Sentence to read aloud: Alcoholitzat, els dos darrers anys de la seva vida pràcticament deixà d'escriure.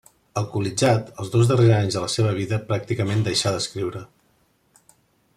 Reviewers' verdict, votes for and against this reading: accepted, 2, 0